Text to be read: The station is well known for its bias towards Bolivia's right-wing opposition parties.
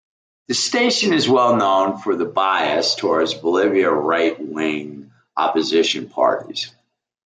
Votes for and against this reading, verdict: 1, 2, rejected